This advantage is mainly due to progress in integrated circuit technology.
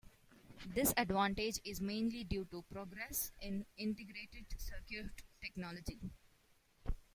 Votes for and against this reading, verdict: 0, 2, rejected